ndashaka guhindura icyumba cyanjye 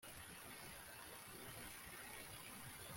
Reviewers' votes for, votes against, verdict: 0, 2, rejected